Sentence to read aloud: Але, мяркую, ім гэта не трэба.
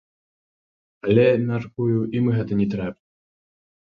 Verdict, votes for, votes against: rejected, 1, 2